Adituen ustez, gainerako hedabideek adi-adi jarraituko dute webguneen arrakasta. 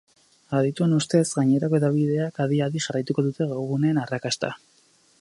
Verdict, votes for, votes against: rejected, 2, 4